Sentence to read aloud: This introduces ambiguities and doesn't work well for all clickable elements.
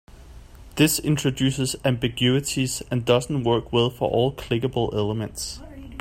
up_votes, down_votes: 2, 1